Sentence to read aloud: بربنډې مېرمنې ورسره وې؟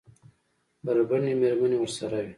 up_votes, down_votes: 2, 1